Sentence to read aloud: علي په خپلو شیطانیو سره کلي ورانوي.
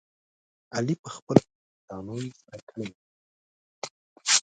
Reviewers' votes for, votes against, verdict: 1, 2, rejected